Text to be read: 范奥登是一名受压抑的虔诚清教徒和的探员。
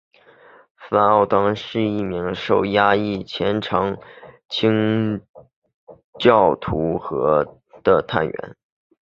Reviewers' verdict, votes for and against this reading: rejected, 0, 2